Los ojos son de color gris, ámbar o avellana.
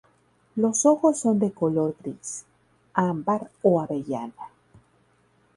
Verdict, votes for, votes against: rejected, 0, 2